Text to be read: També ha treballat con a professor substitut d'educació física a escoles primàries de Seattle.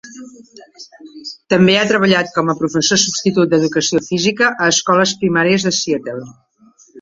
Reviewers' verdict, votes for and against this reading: accepted, 2, 1